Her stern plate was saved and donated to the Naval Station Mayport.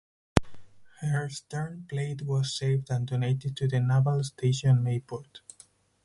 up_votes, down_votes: 4, 0